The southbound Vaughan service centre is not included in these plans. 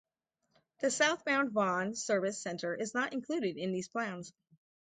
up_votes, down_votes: 0, 2